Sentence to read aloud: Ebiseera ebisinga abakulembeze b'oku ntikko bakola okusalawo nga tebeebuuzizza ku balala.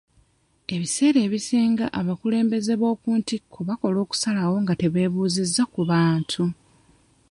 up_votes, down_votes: 0, 2